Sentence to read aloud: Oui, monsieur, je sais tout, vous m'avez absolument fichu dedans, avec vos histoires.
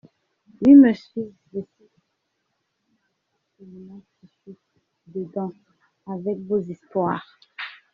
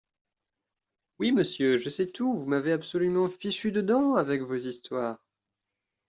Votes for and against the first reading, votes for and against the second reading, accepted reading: 0, 2, 2, 0, second